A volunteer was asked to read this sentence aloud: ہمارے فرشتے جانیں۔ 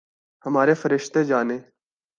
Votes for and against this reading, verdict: 2, 0, accepted